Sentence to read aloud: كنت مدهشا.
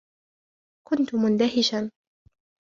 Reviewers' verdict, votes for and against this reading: rejected, 1, 2